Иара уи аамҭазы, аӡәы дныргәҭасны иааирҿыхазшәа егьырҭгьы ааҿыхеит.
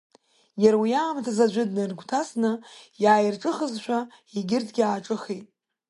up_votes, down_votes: 1, 2